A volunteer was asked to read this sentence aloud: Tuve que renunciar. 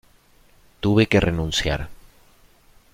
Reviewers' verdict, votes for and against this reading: accepted, 2, 0